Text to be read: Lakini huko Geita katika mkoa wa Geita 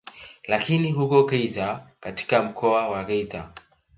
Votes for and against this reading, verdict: 2, 1, accepted